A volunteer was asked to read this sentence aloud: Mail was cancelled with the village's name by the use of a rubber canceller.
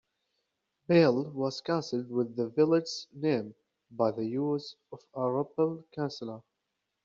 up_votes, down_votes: 0, 2